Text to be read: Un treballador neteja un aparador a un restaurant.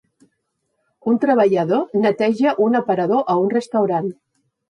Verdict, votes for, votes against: accepted, 3, 0